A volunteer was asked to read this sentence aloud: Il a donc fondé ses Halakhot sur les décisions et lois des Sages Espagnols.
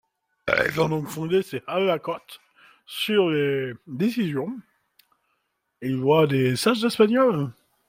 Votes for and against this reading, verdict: 0, 2, rejected